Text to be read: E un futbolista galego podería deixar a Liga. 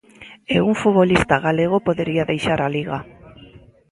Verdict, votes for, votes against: accepted, 2, 0